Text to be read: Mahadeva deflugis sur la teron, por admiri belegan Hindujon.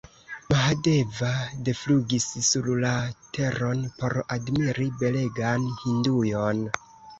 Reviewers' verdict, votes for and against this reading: rejected, 1, 2